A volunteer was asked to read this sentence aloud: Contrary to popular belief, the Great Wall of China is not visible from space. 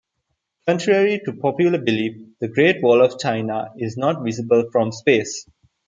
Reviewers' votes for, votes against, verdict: 2, 0, accepted